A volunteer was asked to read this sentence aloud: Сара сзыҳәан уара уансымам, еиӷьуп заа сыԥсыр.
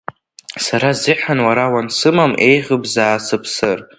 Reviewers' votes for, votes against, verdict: 1, 2, rejected